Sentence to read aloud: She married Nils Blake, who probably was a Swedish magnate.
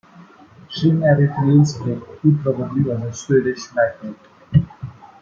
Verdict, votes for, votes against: accepted, 2, 1